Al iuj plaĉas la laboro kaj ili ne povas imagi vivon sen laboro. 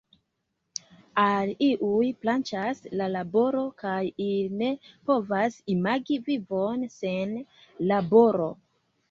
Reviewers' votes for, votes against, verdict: 2, 0, accepted